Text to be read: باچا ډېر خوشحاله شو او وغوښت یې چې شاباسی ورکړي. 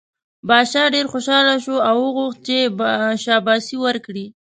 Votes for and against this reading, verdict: 0, 2, rejected